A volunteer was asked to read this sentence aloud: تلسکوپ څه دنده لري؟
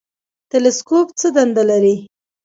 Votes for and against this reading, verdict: 2, 0, accepted